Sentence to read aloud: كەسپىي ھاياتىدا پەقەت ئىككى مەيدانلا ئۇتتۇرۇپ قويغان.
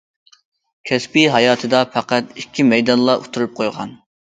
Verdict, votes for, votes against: accepted, 2, 0